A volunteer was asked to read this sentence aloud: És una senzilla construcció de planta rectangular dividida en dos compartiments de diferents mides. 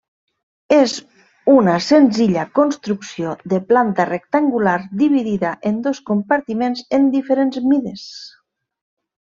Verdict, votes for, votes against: rejected, 0, 2